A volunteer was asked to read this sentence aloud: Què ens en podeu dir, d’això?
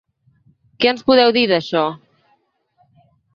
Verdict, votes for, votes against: rejected, 0, 2